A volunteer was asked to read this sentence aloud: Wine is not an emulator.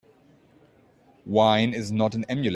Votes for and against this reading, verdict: 1, 2, rejected